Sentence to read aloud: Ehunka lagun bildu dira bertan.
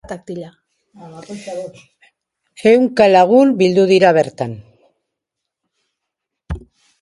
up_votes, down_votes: 0, 2